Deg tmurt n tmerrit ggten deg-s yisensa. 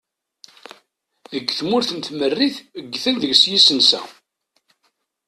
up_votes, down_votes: 2, 0